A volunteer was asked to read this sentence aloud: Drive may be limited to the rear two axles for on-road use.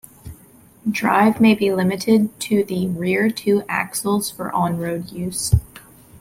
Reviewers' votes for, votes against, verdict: 2, 0, accepted